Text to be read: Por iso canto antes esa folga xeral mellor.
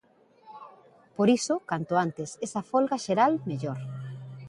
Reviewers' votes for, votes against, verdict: 2, 0, accepted